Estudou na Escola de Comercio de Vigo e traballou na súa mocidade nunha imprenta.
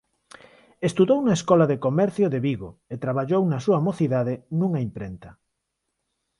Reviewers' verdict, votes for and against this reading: accepted, 4, 0